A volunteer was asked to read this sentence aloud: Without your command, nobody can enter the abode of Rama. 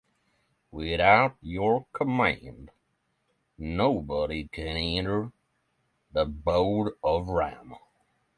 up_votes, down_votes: 3, 6